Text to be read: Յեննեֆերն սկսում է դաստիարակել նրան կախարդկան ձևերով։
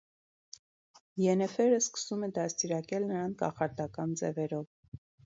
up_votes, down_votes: 2, 0